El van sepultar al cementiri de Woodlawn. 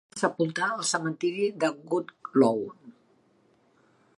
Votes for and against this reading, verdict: 0, 2, rejected